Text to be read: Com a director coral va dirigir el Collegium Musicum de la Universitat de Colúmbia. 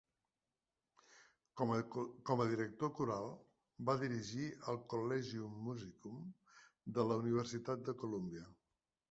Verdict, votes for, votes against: rejected, 0, 2